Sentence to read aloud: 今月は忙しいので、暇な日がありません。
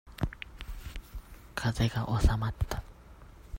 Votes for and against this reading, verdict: 0, 2, rejected